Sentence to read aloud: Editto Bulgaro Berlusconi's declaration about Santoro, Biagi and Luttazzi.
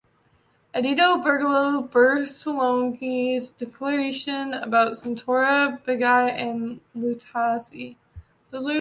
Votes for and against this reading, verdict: 1, 2, rejected